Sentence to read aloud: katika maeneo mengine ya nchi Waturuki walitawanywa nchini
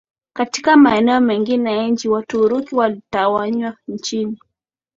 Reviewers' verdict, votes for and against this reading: accepted, 2, 0